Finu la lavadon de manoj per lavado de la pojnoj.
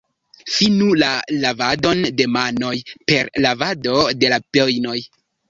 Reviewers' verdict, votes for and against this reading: rejected, 0, 2